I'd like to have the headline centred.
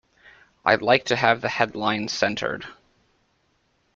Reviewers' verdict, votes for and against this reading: accepted, 2, 0